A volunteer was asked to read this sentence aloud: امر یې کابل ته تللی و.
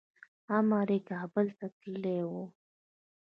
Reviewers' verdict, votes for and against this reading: rejected, 1, 2